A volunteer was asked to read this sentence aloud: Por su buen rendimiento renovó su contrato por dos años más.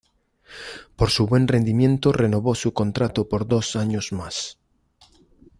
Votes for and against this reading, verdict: 2, 0, accepted